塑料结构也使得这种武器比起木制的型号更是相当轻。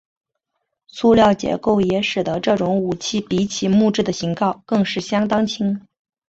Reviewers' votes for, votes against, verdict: 2, 0, accepted